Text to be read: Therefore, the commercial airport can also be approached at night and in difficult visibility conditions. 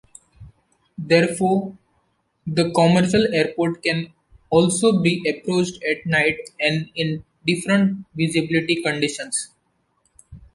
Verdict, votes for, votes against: rejected, 0, 2